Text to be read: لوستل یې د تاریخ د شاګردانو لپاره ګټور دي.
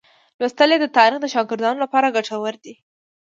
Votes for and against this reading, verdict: 2, 0, accepted